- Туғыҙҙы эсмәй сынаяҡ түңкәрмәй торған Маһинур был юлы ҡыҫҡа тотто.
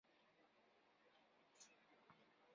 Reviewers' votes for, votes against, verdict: 1, 3, rejected